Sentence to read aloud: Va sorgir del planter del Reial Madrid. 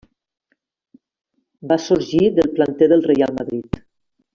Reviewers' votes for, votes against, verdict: 3, 1, accepted